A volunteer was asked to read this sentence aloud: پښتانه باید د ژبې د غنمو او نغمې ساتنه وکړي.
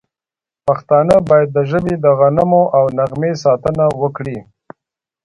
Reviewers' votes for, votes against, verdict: 1, 2, rejected